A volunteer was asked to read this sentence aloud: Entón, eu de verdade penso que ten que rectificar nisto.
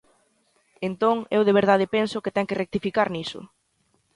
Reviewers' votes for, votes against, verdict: 0, 2, rejected